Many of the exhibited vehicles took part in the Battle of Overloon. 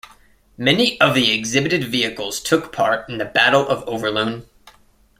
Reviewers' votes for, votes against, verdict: 2, 0, accepted